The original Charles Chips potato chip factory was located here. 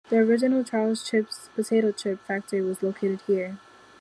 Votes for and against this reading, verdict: 2, 1, accepted